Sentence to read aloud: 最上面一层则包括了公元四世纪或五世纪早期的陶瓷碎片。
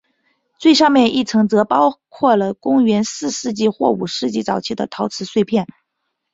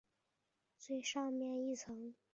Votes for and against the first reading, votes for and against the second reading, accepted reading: 5, 0, 2, 6, first